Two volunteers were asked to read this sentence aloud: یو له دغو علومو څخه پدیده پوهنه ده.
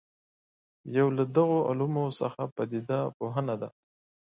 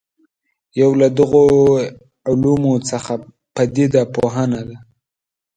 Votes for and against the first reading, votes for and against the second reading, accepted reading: 2, 0, 1, 2, first